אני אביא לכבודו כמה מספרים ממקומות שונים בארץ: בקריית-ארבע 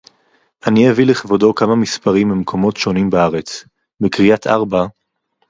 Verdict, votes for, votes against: accepted, 4, 0